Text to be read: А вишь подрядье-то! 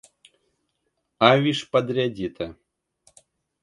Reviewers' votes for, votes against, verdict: 0, 2, rejected